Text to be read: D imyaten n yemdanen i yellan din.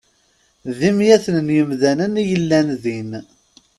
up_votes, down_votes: 2, 0